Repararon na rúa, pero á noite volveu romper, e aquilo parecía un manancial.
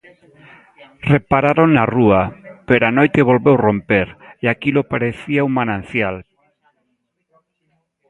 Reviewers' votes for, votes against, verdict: 2, 1, accepted